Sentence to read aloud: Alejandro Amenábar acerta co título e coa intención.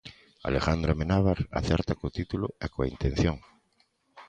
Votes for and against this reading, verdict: 2, 0, accepted